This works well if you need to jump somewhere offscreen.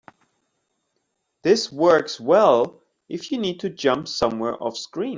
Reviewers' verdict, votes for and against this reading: accepted, 2, 0